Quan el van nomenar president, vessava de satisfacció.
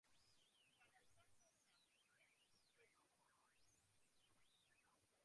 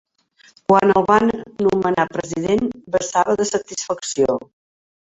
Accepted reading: second